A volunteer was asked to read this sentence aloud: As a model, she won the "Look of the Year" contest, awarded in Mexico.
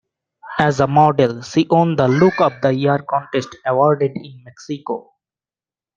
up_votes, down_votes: 0, 2